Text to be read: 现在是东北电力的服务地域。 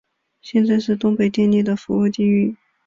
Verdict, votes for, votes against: accepted, 3, 0